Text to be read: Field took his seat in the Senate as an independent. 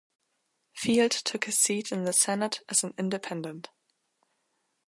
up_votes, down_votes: 2, 0